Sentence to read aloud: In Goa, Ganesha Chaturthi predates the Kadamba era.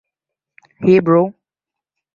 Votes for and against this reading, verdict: 1, 2, rejected